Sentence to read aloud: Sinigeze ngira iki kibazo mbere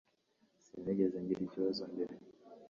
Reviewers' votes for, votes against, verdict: 2, 3, rejected